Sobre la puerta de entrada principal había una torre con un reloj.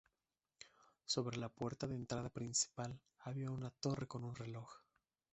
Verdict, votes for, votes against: accepted, 2, 0